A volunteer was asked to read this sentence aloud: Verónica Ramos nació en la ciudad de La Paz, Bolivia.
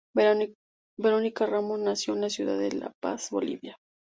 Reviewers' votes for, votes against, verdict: 2, 2, rejected